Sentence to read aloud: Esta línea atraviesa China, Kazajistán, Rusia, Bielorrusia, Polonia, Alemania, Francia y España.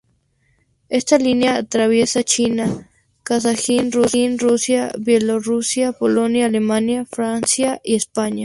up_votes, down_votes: 0, 2